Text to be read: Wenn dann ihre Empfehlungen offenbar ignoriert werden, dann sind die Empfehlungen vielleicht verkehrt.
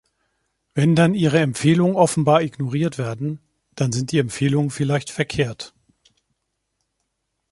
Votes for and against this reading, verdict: 2, 0, accepted